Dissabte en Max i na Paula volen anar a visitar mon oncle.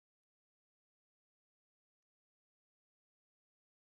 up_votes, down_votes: 0, 4